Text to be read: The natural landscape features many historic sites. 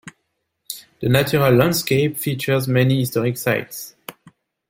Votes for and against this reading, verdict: 2, 0, accepted